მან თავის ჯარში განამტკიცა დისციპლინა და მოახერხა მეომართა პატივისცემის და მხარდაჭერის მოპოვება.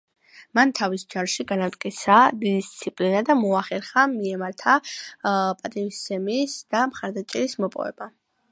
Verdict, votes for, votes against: accepted, 2, 1